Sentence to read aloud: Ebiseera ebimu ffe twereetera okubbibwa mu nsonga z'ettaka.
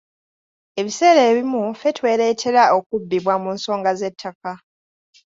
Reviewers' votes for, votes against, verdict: 2, 0, accepted